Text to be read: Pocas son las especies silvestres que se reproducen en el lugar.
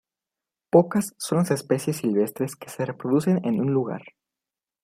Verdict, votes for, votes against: rejected, 1, 2